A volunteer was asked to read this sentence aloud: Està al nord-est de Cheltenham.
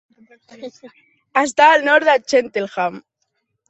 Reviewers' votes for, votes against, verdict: 1, 3, rejected